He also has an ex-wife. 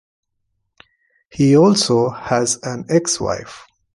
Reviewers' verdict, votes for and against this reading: accepted, 2, 0